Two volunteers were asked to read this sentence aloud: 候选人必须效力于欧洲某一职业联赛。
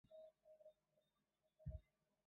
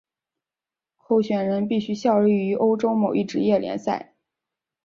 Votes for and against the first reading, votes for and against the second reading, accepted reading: 0, 4, 2, 0, second